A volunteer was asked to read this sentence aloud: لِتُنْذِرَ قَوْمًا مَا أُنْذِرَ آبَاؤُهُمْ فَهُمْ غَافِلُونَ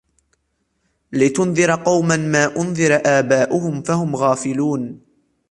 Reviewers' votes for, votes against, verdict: 2, 0, accepted